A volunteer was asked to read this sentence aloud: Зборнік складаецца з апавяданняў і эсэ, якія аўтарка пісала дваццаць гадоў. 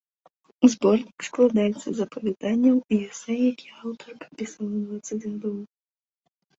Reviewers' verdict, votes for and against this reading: rejected, 1, 2